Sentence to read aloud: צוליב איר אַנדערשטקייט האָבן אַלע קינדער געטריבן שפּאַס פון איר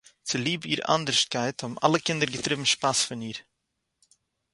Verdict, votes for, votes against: accepted, 4, 0